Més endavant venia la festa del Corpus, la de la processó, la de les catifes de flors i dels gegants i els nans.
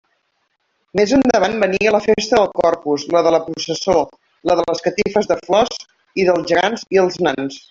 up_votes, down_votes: 0, 2